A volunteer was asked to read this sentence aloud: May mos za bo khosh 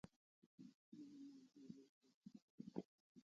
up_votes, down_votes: 1, 2